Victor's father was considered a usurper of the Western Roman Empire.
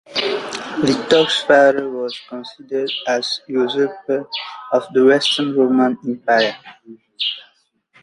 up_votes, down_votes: 1, 2